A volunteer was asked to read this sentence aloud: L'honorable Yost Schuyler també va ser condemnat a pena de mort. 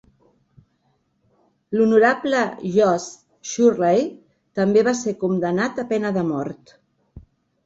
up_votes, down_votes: 1, 3